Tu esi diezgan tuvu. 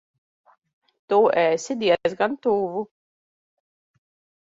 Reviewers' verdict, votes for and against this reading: rejected, 0, 2